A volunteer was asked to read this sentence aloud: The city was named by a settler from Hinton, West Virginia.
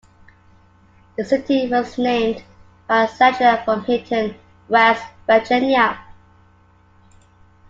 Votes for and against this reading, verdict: 2, 0, accepted